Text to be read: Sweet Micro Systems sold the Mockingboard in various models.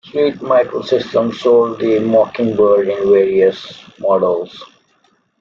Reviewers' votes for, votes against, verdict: 0, 2, rejected